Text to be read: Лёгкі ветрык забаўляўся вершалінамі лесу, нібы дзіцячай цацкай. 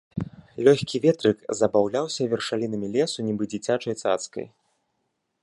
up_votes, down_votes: 2, 0